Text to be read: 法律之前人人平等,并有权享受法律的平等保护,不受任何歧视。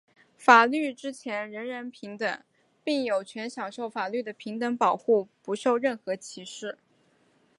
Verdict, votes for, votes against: accepted, 2, 0